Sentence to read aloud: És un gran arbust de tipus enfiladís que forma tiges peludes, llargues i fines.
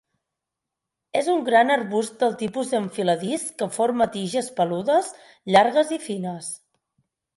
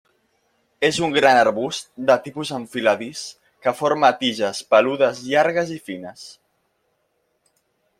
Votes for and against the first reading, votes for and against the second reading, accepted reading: 2, 4, 2, 0, second